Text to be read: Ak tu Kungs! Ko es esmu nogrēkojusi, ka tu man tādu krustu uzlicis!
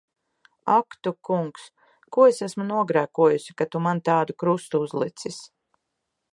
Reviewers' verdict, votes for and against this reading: accepted, 2, 0